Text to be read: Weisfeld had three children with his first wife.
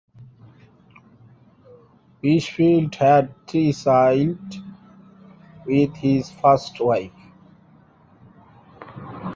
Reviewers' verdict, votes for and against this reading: rejected, 0, 3